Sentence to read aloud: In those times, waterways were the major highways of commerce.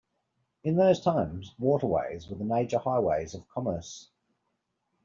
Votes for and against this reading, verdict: 2, 0, accepted